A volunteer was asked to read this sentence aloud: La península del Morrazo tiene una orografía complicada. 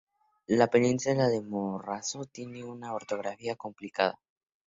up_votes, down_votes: 2, 0